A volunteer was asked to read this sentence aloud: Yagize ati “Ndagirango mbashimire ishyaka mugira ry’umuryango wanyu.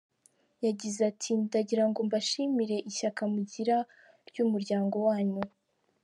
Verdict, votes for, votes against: accepted, 2, 0